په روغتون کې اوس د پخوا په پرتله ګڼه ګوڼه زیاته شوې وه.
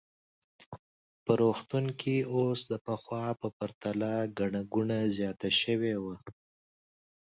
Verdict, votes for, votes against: accepted, 2, 0